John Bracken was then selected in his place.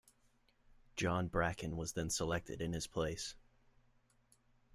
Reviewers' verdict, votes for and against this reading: accepted, 3, 0